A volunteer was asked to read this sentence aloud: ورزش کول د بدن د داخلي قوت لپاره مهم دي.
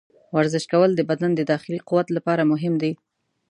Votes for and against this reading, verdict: 2, 0, accepted